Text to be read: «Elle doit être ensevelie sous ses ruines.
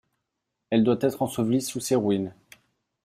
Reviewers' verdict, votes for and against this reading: accepted, 2, 0